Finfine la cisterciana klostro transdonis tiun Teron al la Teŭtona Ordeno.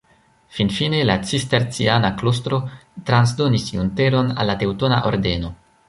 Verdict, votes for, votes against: rejected, 1, 2